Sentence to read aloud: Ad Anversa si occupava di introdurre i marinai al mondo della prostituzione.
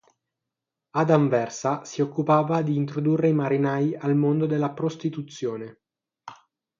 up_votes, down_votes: 9, 0